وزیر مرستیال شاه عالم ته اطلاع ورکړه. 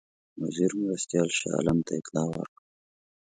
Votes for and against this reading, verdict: 2, 0, accepted